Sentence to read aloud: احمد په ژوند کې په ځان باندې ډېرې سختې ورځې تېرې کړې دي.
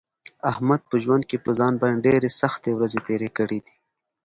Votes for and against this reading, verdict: 1, 2, rejected